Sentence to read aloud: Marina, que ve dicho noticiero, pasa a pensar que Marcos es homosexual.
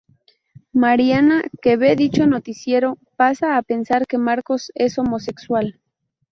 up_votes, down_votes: 2, 2